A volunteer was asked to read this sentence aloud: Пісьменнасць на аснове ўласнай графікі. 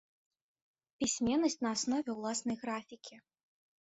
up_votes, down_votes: 2, 0